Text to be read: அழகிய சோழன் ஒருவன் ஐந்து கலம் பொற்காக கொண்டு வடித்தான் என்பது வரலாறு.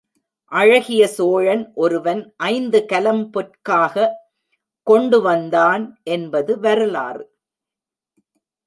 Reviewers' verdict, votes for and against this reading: rejected, 1, 2